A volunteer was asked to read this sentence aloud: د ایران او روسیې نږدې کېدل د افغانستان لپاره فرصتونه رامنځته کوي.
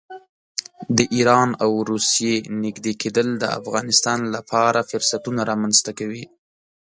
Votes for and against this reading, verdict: 2, 0, accepted